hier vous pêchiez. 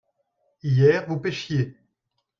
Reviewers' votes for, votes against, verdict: 2, 0, accepted